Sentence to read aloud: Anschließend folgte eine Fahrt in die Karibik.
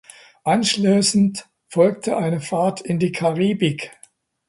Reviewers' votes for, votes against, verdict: 2, 0, accepted